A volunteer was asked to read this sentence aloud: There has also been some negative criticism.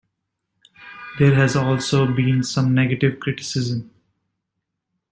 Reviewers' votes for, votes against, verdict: 2, 0, accepted